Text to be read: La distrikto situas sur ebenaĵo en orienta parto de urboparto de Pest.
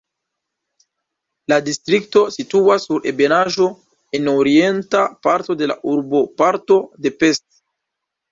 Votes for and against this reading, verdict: 2, 1, accepted